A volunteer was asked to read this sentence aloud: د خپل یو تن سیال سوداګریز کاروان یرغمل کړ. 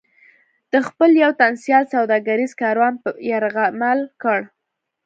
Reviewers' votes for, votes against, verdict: 2, 0, accepted